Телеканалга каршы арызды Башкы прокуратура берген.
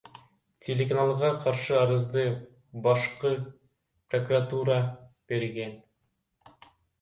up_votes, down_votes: 1, 2